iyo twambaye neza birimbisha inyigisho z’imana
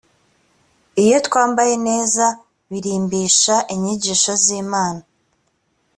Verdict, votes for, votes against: accepted, 2, 0